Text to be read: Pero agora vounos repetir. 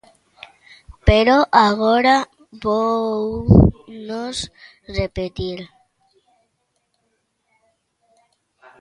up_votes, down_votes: 1, 2